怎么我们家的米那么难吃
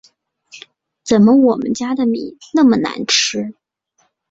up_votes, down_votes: 3, 0